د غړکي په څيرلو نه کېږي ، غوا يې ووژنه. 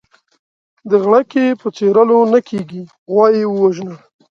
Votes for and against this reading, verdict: 2, 0, accepted